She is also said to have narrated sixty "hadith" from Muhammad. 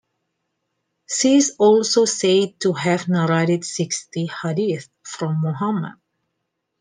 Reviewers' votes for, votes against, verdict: 2, 0, accepted